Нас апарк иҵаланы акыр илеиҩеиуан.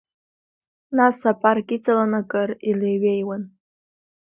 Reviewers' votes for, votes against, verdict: 3, 0, accepted